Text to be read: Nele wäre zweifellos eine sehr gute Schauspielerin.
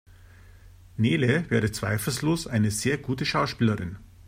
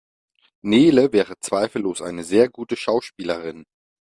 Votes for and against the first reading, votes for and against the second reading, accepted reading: 0, 2, 2, 0, second